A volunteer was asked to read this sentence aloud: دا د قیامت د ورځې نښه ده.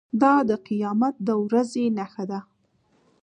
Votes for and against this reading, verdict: 1, 2, rejected